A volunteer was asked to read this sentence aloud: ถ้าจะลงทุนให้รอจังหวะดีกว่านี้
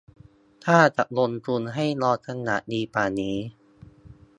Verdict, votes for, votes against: accepted, 2, 1